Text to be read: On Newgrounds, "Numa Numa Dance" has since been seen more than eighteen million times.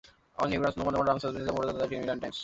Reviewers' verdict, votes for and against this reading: rejected, 0, 2